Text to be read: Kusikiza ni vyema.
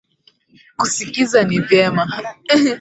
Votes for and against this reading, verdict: 3, 0, accepted